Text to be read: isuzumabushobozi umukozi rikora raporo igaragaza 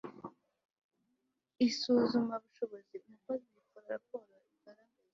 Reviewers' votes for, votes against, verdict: 0, 2, rejected